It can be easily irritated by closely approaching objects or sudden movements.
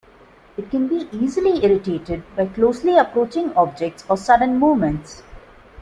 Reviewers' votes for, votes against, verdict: 2, 0, accepted